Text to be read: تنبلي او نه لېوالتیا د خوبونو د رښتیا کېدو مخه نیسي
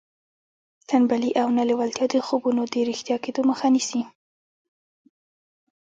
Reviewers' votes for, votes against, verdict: 2, 0, accepted